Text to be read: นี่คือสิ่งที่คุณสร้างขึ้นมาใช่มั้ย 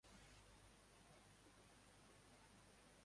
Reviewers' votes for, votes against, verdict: 0, 2, rejected